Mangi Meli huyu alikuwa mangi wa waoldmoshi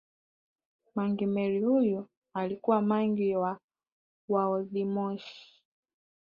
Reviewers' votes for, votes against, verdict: 3, 0, accepted